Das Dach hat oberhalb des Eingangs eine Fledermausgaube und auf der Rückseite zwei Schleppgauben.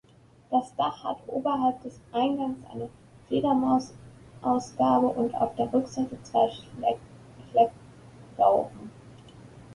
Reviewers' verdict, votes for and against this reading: rejected, 0, 2